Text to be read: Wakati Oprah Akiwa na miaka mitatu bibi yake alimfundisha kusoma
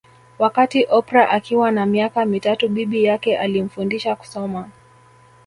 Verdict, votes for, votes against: accepted, 2, 0